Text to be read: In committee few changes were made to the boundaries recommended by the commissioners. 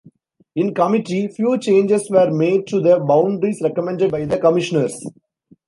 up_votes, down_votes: 2, 0